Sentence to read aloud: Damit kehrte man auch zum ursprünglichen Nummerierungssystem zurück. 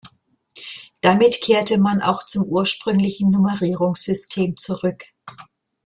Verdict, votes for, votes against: accepted, 2, 0